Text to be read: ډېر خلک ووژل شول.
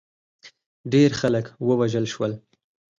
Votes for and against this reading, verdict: 4, 2, accepted